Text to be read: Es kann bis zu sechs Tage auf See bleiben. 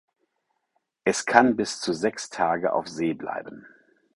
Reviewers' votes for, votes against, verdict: 4, 0, accepted